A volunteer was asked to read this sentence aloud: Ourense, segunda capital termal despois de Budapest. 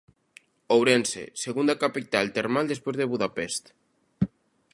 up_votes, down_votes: 3, 0